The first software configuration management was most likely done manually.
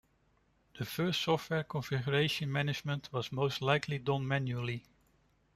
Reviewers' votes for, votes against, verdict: 2, 0, accepted